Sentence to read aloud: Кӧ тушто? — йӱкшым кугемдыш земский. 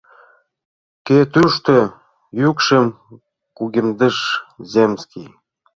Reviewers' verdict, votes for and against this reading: rejected, 0, 2